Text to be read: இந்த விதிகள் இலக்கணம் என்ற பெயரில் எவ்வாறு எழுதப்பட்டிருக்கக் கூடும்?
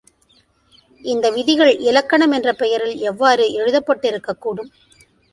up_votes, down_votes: 2, 0